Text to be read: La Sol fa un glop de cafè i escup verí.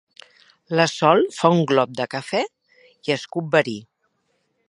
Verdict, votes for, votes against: accepted, 2, 0